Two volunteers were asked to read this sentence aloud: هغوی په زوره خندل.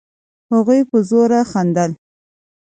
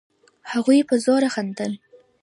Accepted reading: first